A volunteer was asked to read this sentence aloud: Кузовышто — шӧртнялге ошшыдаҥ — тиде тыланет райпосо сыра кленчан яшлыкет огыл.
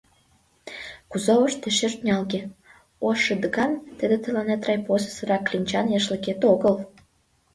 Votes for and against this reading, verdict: 1, 2, rejected